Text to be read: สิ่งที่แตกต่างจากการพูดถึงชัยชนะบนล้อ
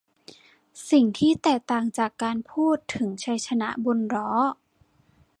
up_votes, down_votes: 2, 0